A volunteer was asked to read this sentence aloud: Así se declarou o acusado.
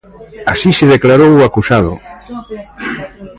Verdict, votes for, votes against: rejected, 1, 2